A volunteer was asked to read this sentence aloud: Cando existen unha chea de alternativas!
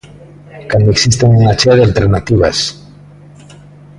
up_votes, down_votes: 1, 2